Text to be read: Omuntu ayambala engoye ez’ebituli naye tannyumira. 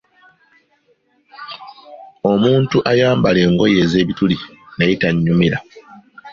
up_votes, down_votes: 3, 1